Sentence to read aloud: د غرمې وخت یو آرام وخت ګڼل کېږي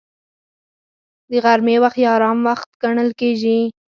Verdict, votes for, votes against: accepted, 4, 0